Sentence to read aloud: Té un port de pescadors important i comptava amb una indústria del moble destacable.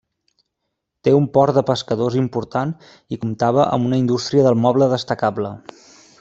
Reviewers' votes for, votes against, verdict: 3, 0, accepted